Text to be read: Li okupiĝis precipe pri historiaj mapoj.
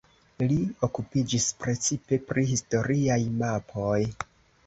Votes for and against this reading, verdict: 2, 0, accepted